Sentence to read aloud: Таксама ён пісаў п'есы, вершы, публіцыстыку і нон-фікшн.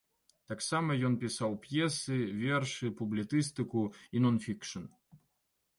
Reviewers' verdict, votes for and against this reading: rejected, 0, 2